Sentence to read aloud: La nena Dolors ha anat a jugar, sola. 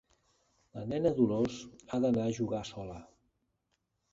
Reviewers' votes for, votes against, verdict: 1, 2, rejected